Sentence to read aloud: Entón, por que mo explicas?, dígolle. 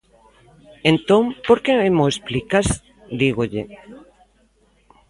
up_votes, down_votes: 1, 2